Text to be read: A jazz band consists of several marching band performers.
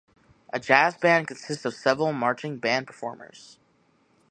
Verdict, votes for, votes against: accepted, 3, 0